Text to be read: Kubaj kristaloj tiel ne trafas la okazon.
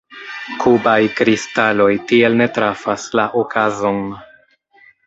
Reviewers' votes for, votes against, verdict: 1, 2, rejected